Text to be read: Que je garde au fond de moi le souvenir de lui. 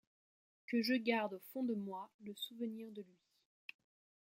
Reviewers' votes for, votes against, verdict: 1, 2, rejected